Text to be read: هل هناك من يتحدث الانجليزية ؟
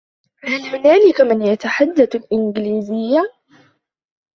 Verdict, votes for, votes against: accepted, 2, 1